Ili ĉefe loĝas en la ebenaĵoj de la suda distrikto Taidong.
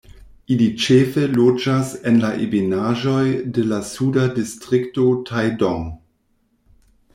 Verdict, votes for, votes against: accepted, 2, 0